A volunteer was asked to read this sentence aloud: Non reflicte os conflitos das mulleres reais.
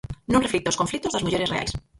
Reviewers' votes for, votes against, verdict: 0, 4, rejected